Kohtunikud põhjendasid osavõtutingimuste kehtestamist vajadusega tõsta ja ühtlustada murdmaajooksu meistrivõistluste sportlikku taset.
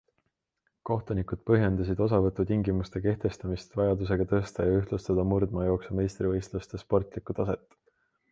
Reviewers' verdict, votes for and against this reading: accepted, 2, 0